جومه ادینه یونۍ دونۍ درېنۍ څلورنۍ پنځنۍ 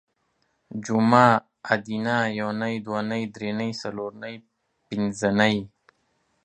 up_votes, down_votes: 2, 0